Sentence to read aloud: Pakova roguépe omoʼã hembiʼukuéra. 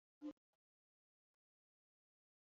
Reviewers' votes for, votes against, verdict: 0, 2, rejected